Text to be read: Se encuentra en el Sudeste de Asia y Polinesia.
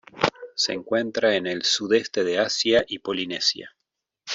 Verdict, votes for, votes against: accepted, 2, 0